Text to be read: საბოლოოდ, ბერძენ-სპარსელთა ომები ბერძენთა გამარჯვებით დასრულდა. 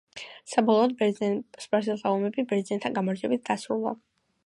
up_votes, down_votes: 2, 0